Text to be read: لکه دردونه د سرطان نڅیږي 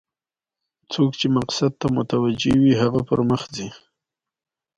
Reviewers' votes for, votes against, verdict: 2, 0, accepted